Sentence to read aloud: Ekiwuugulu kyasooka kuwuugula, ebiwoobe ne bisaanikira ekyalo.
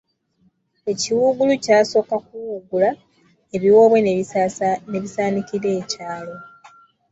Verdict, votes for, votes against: accepted, 2, 0